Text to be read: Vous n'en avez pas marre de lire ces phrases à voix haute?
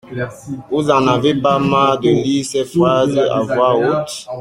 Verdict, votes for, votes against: rejected, 1, 2